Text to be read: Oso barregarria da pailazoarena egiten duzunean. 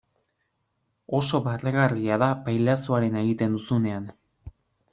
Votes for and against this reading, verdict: 2, 0, accepted